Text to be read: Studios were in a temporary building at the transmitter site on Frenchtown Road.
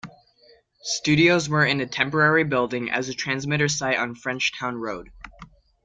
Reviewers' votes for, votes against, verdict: 0, 2, rejected